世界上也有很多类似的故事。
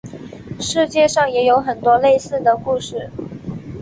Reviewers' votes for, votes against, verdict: 3, 1, accepted